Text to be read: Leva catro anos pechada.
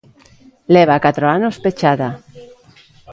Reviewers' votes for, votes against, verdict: 2, 0, accepted